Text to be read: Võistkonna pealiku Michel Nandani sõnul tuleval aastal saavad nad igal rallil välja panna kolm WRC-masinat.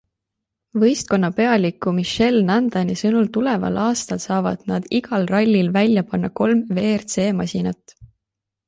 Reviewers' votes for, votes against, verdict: 2, 0, accepted